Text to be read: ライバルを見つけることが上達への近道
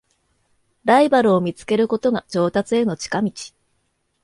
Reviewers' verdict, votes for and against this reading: accepted, 2, 0